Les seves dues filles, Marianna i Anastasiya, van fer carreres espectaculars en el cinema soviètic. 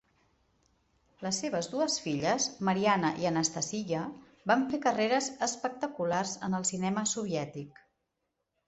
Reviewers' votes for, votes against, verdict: 2, 0, accepted